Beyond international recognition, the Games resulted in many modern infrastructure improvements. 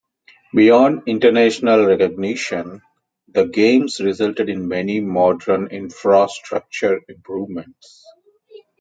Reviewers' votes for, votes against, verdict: 2, 0, accepted